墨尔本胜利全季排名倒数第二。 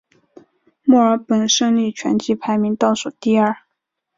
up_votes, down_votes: 3, 0